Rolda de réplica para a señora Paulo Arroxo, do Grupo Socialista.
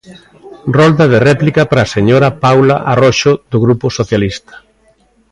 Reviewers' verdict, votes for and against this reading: rejected, 0, 2